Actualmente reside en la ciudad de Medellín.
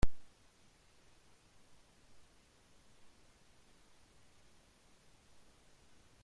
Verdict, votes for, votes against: rejected, 0, 2